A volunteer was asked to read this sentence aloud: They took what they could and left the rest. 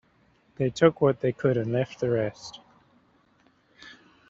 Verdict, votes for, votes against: accepted, 2, 0